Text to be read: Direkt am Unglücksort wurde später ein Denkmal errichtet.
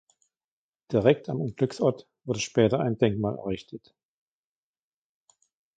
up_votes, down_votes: 2, 1